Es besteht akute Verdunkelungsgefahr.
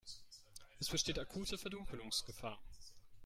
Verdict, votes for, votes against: rejected, 1, 2